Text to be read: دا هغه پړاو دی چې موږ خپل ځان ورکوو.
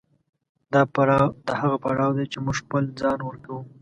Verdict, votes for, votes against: rejected, 1, 3